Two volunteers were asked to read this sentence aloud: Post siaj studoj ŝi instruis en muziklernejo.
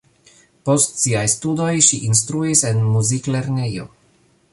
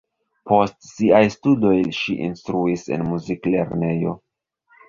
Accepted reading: first